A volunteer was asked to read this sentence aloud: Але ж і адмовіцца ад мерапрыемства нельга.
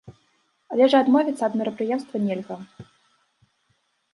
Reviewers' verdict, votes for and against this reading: accepted, 2, 0